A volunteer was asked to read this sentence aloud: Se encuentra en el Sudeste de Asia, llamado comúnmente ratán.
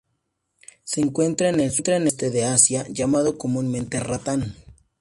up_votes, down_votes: 0, 2